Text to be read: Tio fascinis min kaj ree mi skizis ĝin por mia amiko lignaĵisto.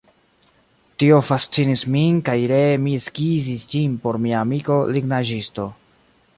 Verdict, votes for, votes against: accepted, 2, 0